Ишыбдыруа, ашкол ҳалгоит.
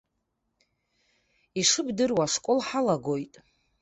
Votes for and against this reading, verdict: 1, 2, rejected